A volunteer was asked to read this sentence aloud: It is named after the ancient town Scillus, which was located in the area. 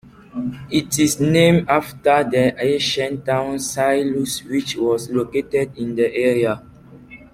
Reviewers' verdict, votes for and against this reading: rejected, 0, 2